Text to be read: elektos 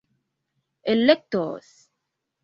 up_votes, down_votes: 2, 1